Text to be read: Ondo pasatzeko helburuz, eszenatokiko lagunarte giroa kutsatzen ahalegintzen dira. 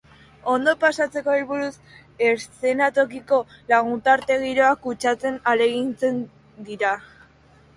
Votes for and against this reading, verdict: 0, 2, rejected